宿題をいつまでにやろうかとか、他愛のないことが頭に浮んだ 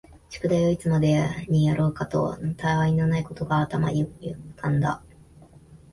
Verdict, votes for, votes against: rejected, 0, 2